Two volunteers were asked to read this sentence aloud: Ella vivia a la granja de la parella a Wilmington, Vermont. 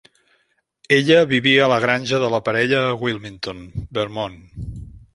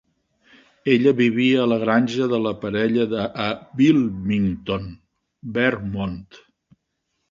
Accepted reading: first